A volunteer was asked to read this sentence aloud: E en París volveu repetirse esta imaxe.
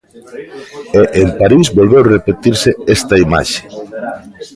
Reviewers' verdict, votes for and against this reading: rejected, 1, 2